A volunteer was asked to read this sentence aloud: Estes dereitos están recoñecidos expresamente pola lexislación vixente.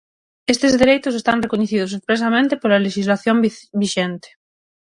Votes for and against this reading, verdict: 3, 6, rejected